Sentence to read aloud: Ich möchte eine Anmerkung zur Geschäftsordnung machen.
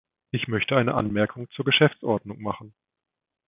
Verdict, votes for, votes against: accepted, 2, 0